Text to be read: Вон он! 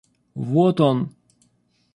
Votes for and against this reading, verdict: 0, 2, rejected